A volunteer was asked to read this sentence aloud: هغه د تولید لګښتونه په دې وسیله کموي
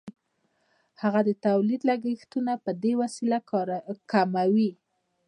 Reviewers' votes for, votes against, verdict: 2, 0, accepted